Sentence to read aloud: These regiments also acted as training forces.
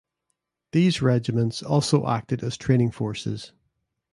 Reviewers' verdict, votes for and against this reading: accepted, 2, 0